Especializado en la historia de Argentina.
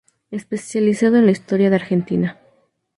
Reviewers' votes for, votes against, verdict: 2, 0, accepted